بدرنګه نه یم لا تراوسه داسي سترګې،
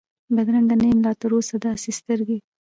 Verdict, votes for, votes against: accepted, 2, 0